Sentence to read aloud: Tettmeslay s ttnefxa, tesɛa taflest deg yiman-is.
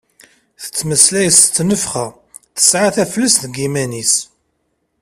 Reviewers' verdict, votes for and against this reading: accepted, 2, 0